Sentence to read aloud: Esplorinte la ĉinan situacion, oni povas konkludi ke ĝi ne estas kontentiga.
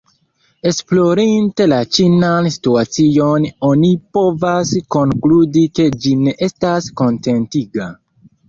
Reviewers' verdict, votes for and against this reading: rejected, 1, 2